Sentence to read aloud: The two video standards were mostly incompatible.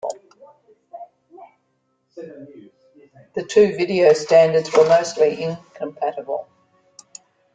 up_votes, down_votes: 2, 0